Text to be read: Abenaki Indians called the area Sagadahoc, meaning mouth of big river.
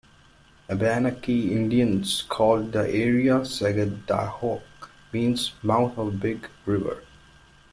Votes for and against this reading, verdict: 1, 2, rejected